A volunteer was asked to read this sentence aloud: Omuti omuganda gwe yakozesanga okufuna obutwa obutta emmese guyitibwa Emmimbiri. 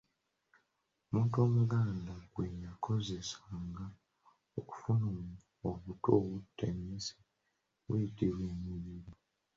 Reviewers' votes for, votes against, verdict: 1, 2, rejected